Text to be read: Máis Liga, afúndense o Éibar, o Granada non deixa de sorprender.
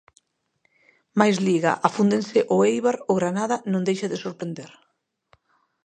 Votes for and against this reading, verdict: 2, 1, accepted